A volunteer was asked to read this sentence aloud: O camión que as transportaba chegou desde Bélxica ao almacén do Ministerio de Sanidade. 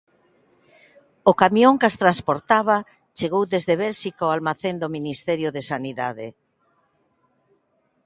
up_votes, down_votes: 2, 0